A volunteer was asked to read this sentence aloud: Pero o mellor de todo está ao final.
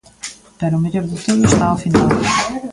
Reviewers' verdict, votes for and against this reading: rejected, 1, 2